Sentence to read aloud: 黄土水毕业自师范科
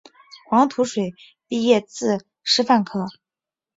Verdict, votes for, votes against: accepted, 6, 0